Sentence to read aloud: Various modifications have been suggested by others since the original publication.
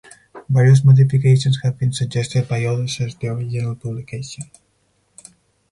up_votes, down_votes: 4, 2